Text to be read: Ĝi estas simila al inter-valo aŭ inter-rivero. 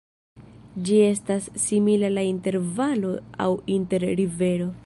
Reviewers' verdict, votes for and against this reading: accepted, 2, 0